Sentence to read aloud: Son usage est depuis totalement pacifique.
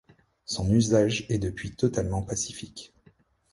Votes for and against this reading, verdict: 2, 0, accepted